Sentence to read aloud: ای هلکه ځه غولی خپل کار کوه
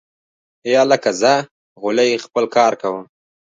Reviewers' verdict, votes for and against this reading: accepted, 2, 1